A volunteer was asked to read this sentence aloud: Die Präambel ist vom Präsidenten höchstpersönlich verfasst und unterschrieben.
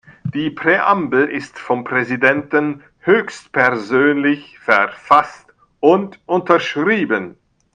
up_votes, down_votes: 1, 2